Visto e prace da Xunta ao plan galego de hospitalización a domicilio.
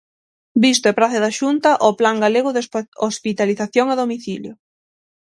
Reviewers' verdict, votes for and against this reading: rejected, 0, 6